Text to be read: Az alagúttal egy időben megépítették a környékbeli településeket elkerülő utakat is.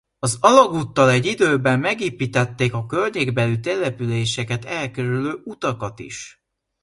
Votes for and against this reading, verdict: 2, 0, accepted